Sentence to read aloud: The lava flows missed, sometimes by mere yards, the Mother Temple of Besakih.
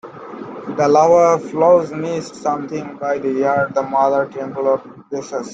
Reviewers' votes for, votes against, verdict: 1, 2, rejected